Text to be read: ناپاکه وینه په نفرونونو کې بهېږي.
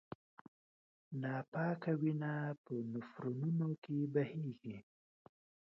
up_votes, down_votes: 2, 0